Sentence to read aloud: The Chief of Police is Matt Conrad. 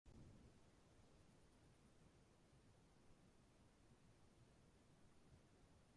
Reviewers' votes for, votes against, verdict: 0, 2, rejected